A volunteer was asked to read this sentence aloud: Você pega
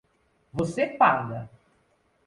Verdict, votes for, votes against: rejected, 0, 2